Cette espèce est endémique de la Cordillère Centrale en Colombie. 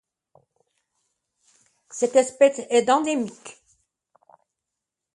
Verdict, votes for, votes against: rejected, 1, 2